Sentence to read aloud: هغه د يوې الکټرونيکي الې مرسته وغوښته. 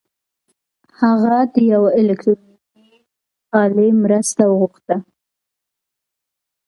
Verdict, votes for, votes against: accepted, 2, 0